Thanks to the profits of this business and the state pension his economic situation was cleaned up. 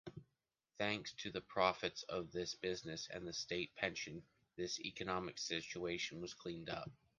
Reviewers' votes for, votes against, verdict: 2, 1, accepted